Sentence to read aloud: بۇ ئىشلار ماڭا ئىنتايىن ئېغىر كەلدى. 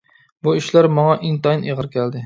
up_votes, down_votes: 2, 0